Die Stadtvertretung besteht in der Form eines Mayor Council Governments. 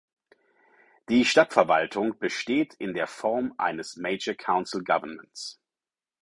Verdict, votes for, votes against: rejected, 2, 4